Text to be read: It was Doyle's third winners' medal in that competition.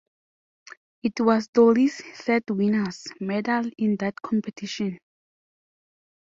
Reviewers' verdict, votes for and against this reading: rejected, 1, 2